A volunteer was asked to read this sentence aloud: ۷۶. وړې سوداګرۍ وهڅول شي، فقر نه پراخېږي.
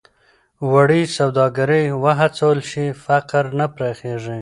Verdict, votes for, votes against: rejected, 0, 2